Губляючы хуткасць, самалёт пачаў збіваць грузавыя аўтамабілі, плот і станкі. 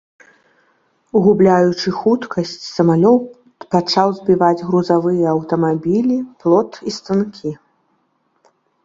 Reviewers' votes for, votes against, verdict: 1, 2, rejected